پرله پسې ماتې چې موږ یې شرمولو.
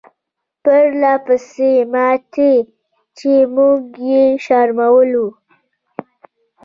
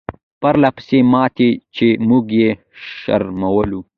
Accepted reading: first